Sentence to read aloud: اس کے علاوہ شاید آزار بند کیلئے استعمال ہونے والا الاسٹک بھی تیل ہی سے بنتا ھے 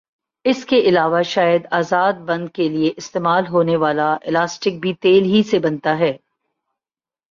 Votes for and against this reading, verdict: 2, 0, accepted